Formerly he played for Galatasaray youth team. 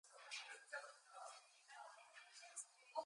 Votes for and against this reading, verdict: 0, 2, rejected